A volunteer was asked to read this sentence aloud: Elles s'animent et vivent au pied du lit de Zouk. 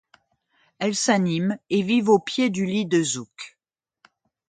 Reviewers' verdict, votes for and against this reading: accepted, 2, 0